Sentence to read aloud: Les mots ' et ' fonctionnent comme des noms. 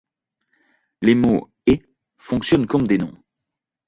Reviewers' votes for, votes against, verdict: 2, 0, accepted